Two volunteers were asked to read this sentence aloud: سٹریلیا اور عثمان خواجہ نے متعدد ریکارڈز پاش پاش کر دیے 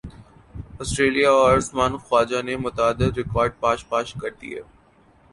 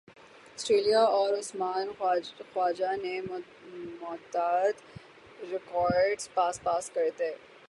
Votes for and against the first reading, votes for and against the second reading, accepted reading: 2, 0, 0, 6, first